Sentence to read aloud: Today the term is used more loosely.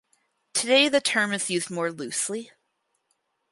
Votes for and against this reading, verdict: 4, 0, accepted